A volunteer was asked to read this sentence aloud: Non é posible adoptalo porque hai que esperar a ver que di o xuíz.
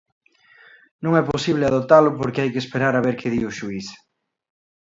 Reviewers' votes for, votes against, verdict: 2, 0, accepted